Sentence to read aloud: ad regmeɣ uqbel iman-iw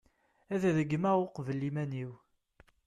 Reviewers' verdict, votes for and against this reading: accepted, 3, 0